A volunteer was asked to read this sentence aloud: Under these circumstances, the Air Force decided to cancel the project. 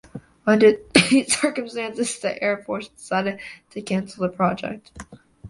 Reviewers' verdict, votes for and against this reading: rejected, 0, 2